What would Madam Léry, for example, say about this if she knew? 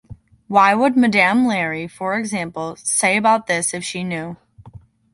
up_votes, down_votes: 0, 2